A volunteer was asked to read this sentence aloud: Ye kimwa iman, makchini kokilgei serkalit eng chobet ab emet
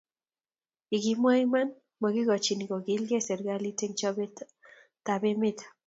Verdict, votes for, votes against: accepted, 3, 0